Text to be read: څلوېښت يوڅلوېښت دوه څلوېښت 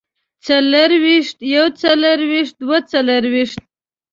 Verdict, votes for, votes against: rejected, 1, 2